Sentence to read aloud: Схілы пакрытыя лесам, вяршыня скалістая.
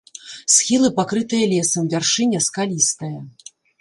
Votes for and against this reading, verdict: 2, 0, accepted